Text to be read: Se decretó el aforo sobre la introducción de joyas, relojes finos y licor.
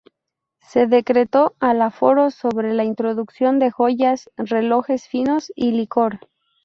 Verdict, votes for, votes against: rejected, 0, 4